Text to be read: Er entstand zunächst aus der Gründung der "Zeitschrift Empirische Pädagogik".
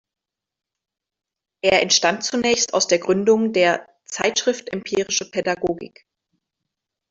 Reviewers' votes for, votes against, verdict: 2, 0, accepted